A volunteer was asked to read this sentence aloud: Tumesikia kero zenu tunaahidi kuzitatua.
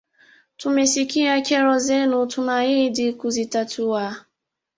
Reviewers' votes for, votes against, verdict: 2, 0, accepted